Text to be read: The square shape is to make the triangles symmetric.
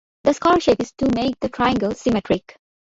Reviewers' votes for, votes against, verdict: 1, 2, rejected